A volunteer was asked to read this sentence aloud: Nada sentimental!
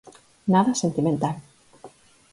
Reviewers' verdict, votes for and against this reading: accepted, 6, 0